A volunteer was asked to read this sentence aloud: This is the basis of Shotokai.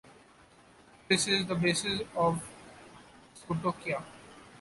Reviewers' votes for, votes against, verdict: 0, 2, rejected